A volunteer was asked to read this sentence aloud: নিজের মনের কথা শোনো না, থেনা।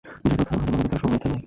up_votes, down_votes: 0, 2